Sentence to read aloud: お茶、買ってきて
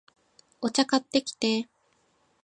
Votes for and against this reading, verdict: 2, 0, accepted